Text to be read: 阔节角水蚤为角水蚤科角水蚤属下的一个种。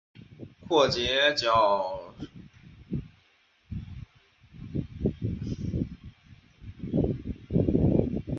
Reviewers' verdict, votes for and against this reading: rejected, 0, 2